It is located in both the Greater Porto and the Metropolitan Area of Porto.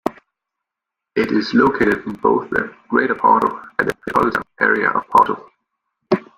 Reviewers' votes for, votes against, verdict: 0, 2, rejected